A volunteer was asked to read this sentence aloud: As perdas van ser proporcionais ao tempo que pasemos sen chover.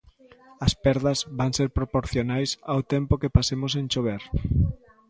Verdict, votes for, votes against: rejected, 1, 2